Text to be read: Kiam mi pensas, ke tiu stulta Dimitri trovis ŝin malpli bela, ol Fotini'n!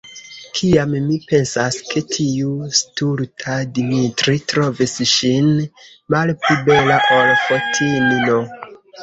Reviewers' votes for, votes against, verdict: 2, 1, accepted